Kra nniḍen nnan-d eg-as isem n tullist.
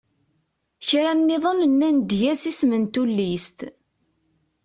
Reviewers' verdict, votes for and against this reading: accepted, 2, 0